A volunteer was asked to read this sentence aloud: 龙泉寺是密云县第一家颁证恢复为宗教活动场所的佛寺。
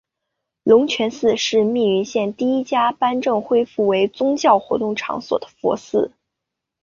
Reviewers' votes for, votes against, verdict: 2, 1, accepted